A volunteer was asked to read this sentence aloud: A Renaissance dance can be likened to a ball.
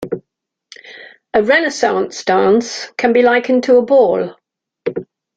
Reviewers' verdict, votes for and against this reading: accepted, 2, 0